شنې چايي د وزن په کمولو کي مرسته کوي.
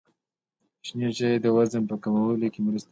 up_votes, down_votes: 1, 2